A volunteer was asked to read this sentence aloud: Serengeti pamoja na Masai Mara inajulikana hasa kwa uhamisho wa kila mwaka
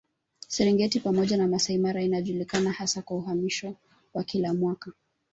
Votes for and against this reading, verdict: 3, 0, accepted